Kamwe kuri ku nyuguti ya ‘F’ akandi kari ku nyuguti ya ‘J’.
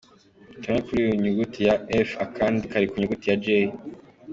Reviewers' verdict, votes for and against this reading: accepted, 2, 1